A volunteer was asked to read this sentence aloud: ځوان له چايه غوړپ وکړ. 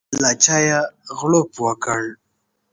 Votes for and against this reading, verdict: 0, 3, rejected